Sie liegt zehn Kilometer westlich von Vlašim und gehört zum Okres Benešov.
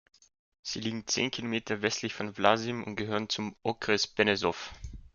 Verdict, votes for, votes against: rejected, 0, 2